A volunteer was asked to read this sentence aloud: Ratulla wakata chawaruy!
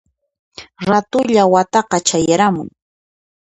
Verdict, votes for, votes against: accepted, 2, 1